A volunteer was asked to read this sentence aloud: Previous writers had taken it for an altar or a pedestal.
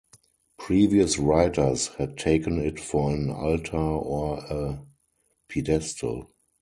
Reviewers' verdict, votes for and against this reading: rejected, 0, 4